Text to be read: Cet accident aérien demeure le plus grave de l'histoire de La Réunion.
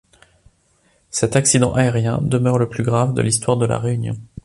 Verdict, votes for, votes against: accepted, 2, 0